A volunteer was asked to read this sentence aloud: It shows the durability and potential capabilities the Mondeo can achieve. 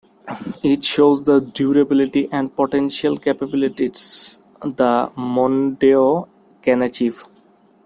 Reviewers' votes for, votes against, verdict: 2, 1, accepted